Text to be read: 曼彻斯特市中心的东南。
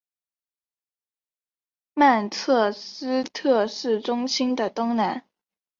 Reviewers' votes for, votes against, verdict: 6, 0, accepted